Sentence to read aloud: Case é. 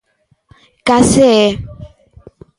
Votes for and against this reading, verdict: 3, 0, accepted